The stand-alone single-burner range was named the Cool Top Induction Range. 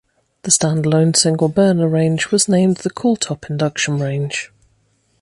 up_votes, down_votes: 2, 0